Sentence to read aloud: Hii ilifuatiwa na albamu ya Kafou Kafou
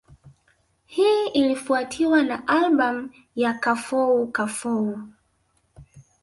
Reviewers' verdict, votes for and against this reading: rejected, 0, 2